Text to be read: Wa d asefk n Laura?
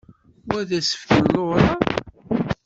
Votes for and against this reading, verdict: 0, 2, rejected